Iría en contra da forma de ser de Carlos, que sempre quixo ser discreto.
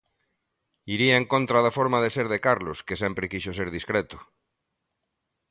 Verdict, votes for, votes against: accepted, 2, 0